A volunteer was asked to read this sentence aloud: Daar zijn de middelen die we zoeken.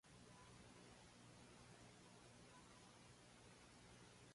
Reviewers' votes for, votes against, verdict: 0, 2, rejected